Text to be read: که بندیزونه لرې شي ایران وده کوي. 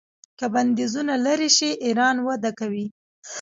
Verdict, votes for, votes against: rejected, 0, 2